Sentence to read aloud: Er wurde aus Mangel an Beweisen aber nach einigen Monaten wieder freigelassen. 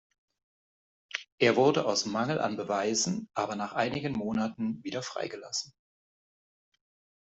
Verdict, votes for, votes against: accepted, 2, 0